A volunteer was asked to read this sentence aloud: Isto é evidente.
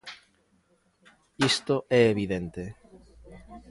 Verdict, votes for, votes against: rejected, 0, 2